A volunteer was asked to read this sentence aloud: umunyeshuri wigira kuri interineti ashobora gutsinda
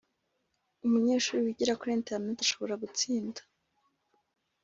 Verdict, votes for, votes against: accepted, 2, 0